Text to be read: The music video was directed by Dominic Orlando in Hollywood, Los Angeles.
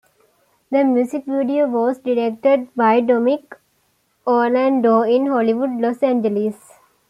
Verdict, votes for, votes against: accepted, 2, 1